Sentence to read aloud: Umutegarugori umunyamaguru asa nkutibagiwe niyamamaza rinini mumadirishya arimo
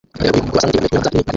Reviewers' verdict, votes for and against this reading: rejected, 0, 2